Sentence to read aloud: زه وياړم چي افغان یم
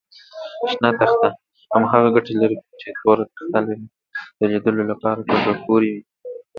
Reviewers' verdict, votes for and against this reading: rejected, 0, 2